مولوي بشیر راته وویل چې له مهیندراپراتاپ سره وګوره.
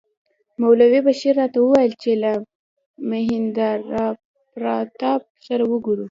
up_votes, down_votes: 1, 2